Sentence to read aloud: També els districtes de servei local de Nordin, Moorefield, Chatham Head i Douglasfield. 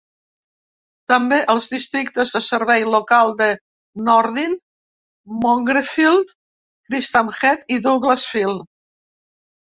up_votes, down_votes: 0, 2